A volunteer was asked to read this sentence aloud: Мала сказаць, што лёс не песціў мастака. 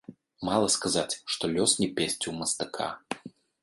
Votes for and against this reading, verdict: 0, 2, rejected